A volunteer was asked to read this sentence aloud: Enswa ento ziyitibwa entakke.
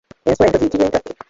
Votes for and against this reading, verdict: 1, 2, rejected